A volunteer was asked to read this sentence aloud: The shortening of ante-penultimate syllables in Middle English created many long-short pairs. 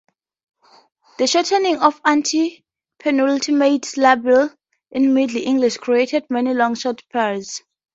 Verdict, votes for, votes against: rejected, 2, 2